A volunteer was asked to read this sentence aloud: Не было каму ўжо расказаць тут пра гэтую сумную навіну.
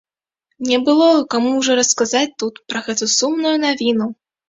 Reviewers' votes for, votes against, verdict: 2, 0, accepted